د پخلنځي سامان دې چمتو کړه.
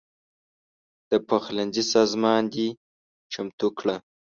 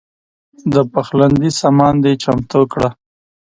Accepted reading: second